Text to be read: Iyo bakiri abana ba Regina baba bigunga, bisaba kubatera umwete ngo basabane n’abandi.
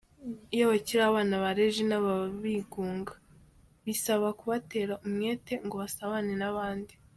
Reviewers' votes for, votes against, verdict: 2, 0, accepted